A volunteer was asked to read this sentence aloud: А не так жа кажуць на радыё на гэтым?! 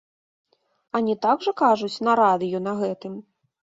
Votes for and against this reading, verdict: 3, 0, accepted